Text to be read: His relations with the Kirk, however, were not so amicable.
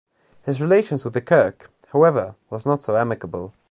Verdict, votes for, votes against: rejected, 1, 2